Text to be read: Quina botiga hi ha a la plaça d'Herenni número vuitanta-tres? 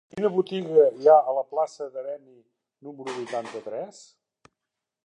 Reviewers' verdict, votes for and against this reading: rejected, 0, 2